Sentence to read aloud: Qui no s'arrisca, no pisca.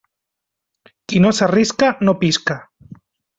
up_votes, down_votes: 3, 0